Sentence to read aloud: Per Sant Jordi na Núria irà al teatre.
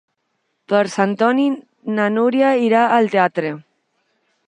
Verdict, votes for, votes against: rejected, 0, 2